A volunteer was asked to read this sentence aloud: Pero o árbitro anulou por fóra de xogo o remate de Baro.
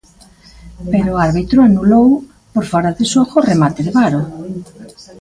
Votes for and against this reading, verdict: 0, 2, rejected